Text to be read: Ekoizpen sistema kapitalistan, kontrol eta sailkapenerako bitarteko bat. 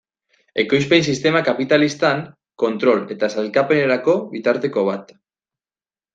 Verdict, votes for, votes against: accepted, 2, 0